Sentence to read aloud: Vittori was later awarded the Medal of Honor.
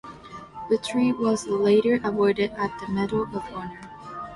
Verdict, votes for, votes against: rejected, 0, 2